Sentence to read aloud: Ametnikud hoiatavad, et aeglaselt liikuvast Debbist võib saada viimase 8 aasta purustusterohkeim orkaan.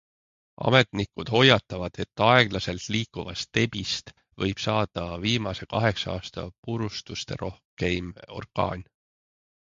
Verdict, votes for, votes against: rejected, 0, 2